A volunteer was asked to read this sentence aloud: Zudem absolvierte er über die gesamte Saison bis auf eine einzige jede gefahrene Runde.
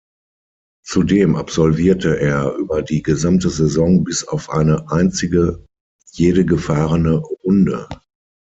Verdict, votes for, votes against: rejected, 3, 6